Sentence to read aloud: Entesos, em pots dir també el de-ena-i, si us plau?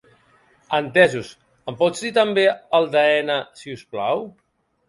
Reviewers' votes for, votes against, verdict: 1, 2, rejected